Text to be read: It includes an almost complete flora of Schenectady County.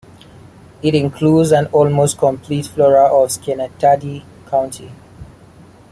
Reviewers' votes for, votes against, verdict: 2, 0, accepted